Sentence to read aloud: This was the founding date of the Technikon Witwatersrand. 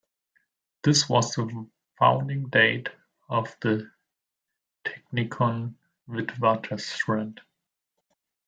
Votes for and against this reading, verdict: 2, 1, accepted